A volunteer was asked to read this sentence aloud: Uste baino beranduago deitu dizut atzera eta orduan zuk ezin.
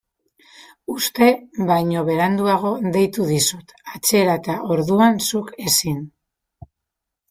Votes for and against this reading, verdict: 2, 1, accepted